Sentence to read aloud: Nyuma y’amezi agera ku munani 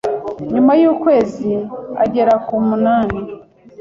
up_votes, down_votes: 1, 4